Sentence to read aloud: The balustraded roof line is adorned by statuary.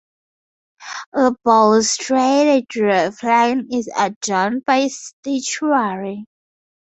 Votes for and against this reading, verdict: 0, 10, rejected